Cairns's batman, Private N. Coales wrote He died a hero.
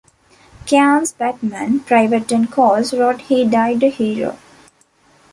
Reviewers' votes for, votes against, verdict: 2, 0, accepted